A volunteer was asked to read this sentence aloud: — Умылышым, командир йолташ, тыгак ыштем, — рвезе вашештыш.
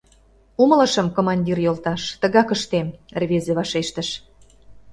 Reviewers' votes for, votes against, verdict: 2, 0, accepted